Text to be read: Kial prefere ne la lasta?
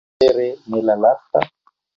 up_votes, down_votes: 0, 2